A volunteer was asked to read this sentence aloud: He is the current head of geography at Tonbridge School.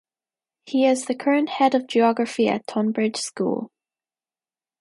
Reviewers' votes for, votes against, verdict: 2, 0, accepted